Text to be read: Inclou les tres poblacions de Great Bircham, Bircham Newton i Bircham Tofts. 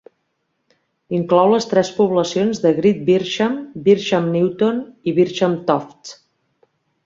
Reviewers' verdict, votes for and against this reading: accepted, 2, 0